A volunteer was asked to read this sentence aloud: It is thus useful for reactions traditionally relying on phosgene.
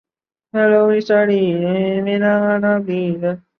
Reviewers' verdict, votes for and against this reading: rejected, 0, 2